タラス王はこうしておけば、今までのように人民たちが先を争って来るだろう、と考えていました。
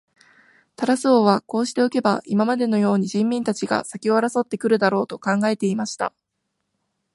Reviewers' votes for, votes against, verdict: 2, 0, accepted